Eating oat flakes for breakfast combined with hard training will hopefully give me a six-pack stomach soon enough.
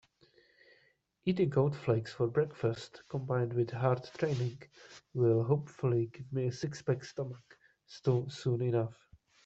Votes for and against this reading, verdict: 1, 2, rejected